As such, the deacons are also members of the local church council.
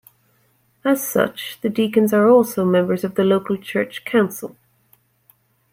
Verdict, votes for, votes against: accepted, 2, 0